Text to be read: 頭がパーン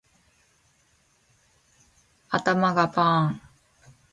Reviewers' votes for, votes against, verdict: 2, 0, accepted